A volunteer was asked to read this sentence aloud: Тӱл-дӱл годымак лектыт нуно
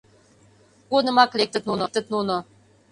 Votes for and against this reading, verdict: 0, 2, rejected